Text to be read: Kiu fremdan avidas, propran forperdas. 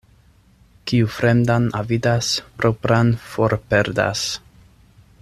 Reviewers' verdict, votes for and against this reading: accepted, 2, 0